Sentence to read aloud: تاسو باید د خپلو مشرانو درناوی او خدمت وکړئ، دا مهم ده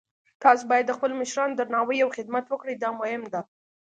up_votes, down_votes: 2, 0